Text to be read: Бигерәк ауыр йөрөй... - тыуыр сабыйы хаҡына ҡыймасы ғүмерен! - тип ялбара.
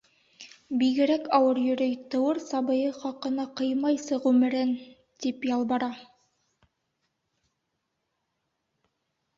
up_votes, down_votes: 1, 2